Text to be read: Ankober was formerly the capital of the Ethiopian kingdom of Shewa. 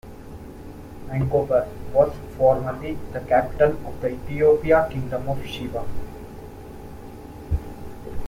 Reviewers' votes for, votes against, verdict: 1, 2, rejected